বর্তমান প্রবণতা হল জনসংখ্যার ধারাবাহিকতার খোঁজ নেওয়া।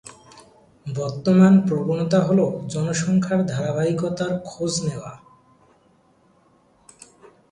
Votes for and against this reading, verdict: 5, 2, accepted